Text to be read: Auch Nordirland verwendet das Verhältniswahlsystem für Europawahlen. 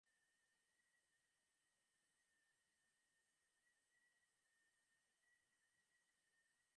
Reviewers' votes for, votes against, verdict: 0, 2, rejected